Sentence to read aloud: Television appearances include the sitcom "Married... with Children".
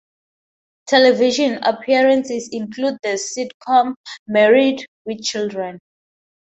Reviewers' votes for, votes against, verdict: 2, 0, accepted